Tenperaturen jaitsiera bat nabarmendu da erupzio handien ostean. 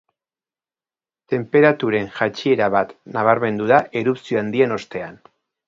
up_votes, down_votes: 2, 0